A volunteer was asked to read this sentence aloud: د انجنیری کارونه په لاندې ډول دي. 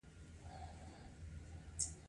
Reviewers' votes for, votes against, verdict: 2, 0, accepted